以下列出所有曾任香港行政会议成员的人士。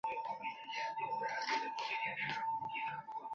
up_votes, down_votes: 0, 3